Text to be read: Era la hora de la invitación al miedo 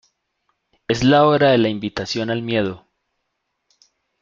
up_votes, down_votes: 0, 2